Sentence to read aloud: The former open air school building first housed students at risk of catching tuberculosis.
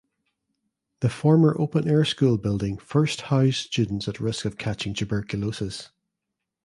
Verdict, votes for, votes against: accepted, 2, 0